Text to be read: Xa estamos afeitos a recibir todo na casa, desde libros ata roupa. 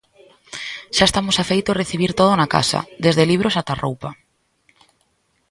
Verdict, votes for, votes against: rejected, 0, 2